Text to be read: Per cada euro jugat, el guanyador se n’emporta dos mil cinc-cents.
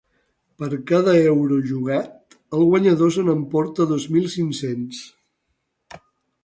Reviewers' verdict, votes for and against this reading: accepted, 2, 0